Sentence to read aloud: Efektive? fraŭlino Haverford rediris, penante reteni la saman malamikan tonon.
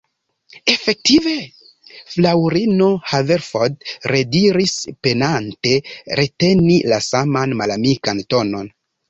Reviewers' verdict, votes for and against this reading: rejected, 1, 2